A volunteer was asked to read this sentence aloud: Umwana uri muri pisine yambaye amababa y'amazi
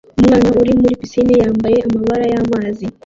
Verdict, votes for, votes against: rejected, 1, 2